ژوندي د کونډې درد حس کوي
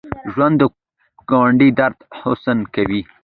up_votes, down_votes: 1, 2